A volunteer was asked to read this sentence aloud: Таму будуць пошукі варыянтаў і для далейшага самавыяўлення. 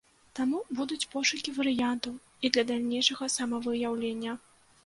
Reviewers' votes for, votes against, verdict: 1, 2, rejected